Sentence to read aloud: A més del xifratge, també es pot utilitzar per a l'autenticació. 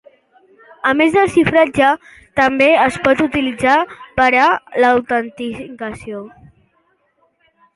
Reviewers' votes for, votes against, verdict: 2, 1, accepted